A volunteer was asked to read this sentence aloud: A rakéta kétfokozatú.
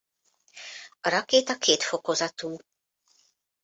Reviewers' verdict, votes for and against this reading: accepted, 2, 0